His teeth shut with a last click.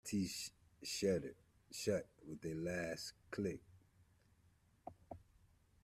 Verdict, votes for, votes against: rejected, 0, 2